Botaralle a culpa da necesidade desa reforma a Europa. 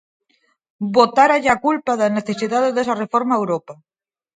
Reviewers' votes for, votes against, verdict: 0, 4, rejected